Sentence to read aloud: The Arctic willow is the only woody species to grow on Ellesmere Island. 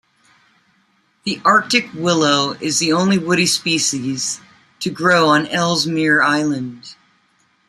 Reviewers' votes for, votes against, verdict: 2, 0, accepted